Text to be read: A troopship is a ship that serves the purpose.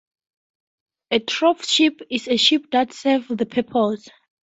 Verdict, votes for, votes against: rejected, 0, 4